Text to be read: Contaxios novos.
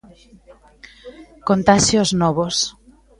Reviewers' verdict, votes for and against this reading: rejected, 1, 2